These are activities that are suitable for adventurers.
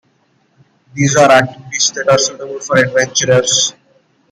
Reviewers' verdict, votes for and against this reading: accepted, 2, 1